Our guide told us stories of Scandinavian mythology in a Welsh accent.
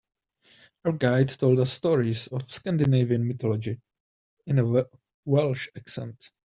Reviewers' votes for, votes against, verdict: 0, 2, rejected